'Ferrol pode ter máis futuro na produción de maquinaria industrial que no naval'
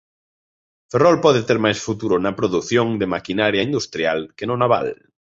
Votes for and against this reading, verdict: 2, 0, accepted